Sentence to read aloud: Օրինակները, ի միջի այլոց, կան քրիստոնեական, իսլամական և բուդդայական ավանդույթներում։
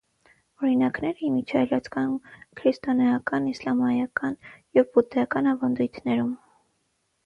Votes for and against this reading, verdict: 0, 6, rejected